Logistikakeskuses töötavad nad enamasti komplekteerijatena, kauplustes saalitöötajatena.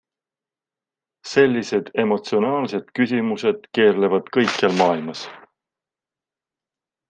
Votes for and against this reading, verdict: 0, 2, rejected